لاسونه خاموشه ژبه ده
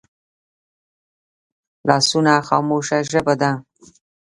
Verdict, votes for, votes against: accepted, 2, 1